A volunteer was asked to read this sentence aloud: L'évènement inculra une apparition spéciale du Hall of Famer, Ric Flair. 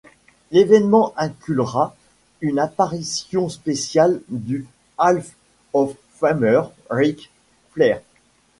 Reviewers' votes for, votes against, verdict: 1, 2, rejected